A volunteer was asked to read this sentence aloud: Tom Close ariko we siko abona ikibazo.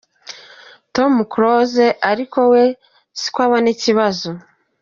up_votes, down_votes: 2, 0